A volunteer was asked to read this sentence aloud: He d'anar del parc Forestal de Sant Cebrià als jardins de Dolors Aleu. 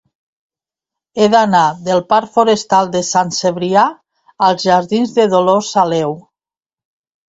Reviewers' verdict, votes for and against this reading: accepted, 2, 0